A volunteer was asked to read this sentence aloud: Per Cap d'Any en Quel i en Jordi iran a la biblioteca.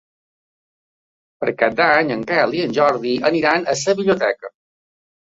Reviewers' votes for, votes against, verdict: 0, 2, rejected